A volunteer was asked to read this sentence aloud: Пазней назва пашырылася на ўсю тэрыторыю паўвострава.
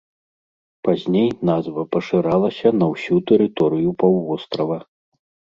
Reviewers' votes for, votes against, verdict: 1, 2, rejected